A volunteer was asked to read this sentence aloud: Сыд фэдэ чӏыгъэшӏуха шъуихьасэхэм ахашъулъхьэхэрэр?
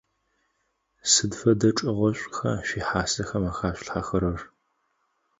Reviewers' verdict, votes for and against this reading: accepted, 4, 0